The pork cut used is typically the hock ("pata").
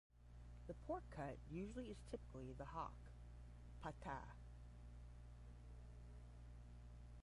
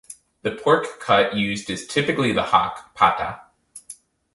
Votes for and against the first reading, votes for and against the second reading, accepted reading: 0, 10, 4, 0, second